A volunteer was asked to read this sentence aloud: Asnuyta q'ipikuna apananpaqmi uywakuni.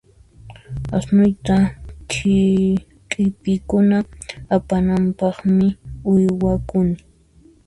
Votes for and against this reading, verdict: 1, 2, rejected